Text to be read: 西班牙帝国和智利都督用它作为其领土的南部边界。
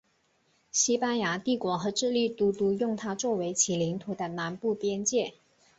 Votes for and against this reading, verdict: 4, 1, accepted